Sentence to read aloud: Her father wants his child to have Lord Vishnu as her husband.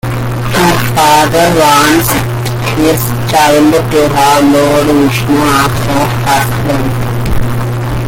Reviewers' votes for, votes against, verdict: 1, 2, rejected